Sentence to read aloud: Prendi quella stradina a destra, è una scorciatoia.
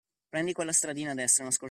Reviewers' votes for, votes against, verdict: 0, 2, rejected